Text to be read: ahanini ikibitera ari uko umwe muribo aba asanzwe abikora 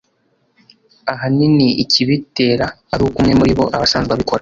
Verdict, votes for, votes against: accepted, 3, 0